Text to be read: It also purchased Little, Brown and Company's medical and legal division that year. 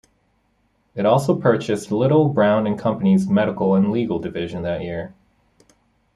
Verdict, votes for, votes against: accepted, 2, 0